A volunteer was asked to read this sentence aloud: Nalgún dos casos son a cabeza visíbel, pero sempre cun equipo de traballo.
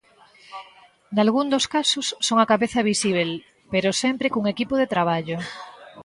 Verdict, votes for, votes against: accepted, 2, 0